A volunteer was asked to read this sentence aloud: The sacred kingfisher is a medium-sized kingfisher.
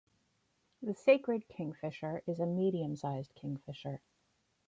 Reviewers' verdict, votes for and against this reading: accepted, 2, 0